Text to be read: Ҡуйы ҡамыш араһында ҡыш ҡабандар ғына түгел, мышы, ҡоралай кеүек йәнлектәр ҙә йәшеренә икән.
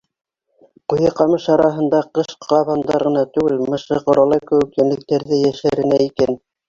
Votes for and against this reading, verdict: 0, 2, rejected